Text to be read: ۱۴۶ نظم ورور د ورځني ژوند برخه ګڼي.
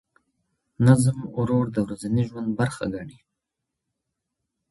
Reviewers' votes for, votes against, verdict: 0, 2, rejected